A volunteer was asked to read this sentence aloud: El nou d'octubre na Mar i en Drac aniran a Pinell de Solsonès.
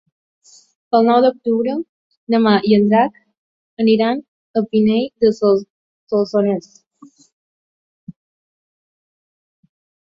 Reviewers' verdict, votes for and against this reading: rejected, 0, 2